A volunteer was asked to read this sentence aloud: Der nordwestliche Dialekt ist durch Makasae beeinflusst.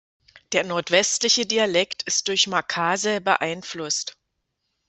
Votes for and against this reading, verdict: 2, 0, accepted